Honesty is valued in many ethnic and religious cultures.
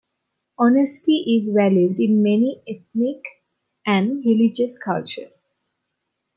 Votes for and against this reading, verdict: 2, 0, accepted